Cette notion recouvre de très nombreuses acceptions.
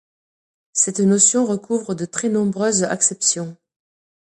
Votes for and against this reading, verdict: 3, 1, accepted